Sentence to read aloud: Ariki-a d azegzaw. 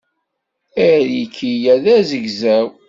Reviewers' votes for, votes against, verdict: 2, 0, accepted